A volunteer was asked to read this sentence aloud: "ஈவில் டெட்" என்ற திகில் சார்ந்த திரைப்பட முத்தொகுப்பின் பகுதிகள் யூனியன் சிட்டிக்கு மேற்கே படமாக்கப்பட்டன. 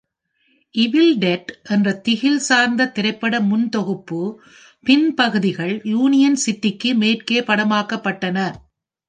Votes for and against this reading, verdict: 1, 2, rejected